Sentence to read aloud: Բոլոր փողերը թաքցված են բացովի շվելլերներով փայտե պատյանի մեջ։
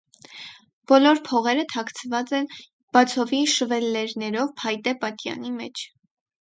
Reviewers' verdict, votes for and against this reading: accepted, 4, 0